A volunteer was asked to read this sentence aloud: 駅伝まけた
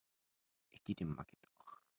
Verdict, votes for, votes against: rejected, 1, 2